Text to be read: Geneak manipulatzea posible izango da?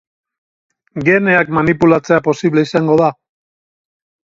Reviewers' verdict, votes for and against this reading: rejected, 2, 2